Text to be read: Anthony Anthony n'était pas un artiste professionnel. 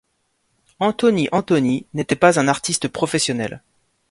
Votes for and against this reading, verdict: 2, 0, accepted